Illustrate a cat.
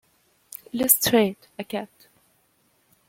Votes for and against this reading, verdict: 1, 2, rejected